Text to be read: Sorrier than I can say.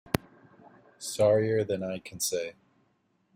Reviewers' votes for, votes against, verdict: 2, 0, accepted